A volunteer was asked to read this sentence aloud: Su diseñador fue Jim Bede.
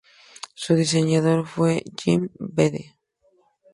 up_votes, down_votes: 2, 0